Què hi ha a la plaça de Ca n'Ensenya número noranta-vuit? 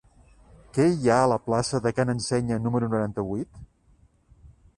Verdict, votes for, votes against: accepted, 2, 0